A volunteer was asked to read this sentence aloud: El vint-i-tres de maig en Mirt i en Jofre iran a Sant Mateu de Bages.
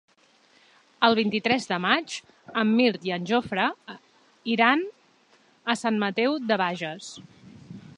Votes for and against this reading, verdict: 3, 0, accepted